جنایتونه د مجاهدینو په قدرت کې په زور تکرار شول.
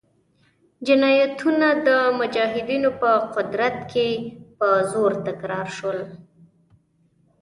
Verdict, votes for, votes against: rejected, 1, 2